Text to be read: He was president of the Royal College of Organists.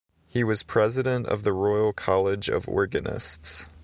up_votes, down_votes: 3, 0